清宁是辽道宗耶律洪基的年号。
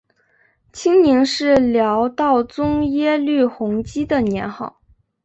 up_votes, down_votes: 4, 0